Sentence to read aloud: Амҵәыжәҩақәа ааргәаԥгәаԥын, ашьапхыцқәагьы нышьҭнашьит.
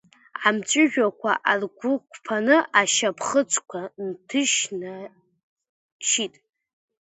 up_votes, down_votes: 0, 2